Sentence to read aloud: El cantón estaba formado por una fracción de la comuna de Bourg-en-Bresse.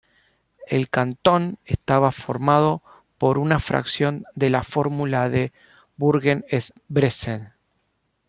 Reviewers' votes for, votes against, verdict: 0, 2, rejected